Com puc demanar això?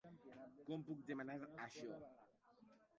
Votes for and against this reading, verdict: 1, 2, rejected